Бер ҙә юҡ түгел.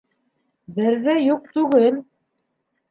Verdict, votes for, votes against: accepted, 2, 0